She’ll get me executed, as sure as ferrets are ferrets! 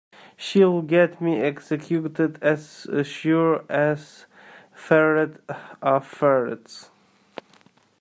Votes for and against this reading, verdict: 1, 2, rejected